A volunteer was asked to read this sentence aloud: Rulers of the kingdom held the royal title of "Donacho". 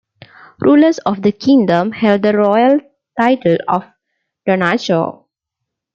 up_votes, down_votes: 2, 0